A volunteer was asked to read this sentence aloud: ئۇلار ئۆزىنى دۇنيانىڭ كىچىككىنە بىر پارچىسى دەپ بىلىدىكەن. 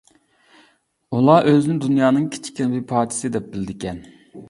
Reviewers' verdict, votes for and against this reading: rejected, 0, 2